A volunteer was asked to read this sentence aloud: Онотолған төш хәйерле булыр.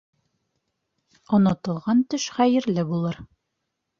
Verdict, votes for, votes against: accepted, 2, 0